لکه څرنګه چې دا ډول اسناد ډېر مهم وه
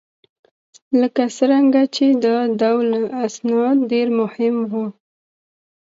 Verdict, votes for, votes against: accepted, 2, 0